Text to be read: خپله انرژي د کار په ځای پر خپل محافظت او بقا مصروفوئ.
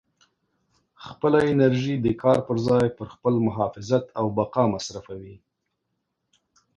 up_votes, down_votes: 2, 0